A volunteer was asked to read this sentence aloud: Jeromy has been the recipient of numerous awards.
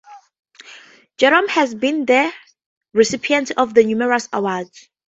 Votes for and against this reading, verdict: 0, 2, rejected